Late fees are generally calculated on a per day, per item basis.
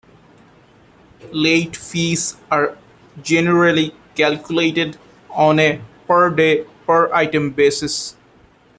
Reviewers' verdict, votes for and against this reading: accepted, 2, 0